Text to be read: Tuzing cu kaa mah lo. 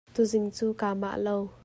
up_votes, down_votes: 2, 0